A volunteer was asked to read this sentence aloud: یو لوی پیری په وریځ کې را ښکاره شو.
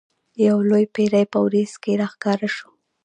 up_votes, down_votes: 0, 2